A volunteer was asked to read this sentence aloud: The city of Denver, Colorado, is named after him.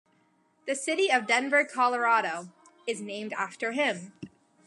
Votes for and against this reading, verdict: 2, 0, accepted